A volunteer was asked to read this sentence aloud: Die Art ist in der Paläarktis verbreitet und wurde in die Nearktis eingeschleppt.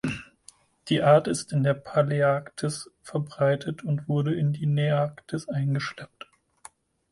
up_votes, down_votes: 4, 0